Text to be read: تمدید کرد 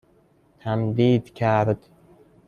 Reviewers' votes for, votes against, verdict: 2, 0, accepted